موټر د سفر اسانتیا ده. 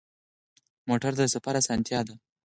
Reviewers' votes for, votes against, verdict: 2, 4, rejected